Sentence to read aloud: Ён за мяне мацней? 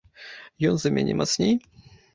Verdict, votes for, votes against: accepted, 2, 0